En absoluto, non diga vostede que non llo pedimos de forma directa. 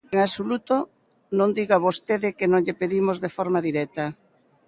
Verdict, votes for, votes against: rejected, 1, 2